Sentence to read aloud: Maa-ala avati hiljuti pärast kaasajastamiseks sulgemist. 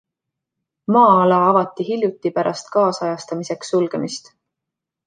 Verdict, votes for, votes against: accepted, 2, 0